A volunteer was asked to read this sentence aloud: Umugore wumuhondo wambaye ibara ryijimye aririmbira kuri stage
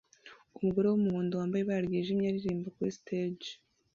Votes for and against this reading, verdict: 0, 2, rejected